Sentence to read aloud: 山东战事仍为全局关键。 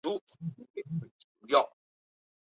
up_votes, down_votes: 0, 2